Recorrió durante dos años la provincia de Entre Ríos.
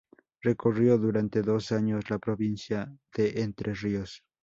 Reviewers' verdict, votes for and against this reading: accepted, 6, 0